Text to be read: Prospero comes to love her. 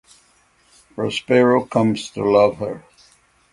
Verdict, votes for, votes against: accepted, 6, 0